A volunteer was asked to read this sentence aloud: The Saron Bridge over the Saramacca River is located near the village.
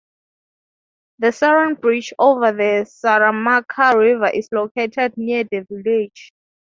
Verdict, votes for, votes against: rejected, 0, 3